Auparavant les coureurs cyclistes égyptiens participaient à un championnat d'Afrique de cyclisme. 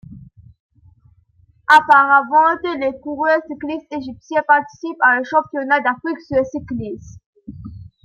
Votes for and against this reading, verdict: 0, 2, rejected